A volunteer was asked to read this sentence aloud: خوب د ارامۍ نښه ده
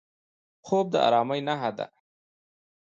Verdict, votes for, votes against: accepted, 2, 0